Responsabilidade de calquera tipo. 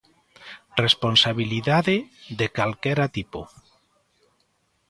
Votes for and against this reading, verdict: 2, 0, accepted